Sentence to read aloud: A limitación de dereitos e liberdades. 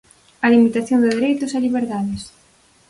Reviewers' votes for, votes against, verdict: 4, 0, accepted